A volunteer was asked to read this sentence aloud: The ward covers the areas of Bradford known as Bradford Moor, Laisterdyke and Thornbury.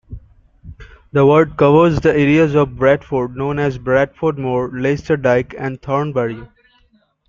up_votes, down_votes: 2, 0